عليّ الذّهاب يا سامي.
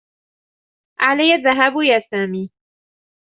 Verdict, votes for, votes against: accepted, 2, 0